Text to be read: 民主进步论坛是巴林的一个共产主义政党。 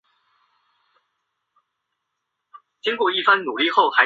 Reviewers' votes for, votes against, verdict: 0, 2, rejected